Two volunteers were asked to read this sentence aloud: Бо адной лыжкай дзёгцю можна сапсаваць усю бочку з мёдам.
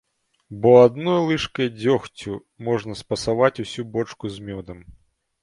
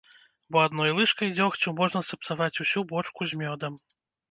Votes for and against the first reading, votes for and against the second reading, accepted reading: 0, 2, 2, 0, second